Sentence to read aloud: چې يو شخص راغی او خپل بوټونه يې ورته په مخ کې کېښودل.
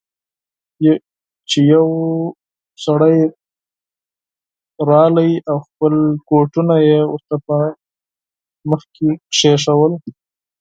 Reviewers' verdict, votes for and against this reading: rejected, 0, 4